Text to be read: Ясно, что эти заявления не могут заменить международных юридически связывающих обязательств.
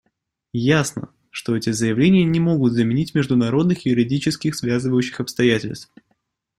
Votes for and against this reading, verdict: 2, 0, accepted